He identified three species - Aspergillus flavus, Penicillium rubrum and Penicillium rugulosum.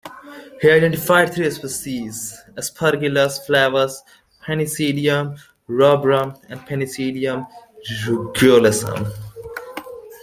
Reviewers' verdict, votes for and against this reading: accepted, 2, 0